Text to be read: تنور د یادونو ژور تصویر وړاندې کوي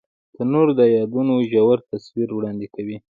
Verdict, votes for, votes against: accepted, 2, 0